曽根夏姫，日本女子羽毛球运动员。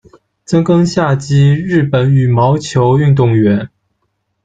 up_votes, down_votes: 1, 2